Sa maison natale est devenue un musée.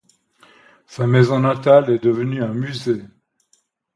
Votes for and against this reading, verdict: 2, 0, accepted